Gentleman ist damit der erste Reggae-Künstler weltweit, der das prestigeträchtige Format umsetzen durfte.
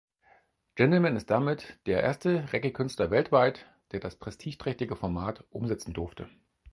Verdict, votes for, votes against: accepted, 4, 0